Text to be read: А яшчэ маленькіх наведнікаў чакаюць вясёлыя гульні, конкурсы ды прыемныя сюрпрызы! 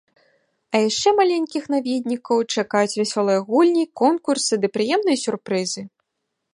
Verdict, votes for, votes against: accepted, 2, 0